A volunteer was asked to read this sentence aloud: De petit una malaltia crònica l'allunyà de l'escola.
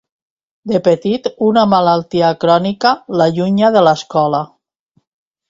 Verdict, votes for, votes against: rejected, 1, 2